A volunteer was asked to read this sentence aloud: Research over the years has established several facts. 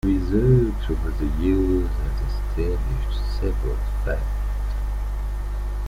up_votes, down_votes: 2, 1